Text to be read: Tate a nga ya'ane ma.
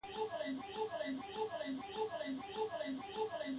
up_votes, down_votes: 1, 2